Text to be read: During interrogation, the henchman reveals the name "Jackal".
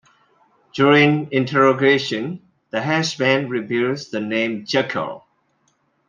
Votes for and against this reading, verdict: 2, 0, accepted